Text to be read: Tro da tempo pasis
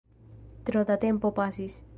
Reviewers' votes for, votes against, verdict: 2, 0, accepted